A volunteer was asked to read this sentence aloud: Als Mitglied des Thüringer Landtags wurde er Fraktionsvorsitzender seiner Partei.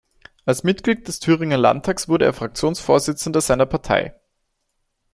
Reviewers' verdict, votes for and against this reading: accepted, 2, 0